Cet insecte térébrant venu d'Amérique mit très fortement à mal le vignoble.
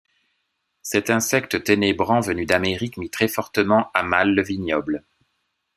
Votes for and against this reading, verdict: 1, 2, rejected